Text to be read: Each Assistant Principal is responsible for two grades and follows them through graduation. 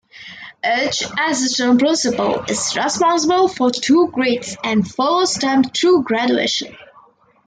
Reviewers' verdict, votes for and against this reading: rejected, 1, 2